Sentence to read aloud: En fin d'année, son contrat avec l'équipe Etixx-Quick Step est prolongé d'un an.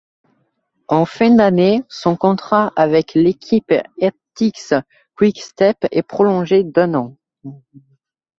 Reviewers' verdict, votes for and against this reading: rejected, 0, 2